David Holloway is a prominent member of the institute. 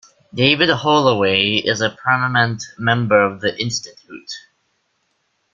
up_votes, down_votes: 3, 2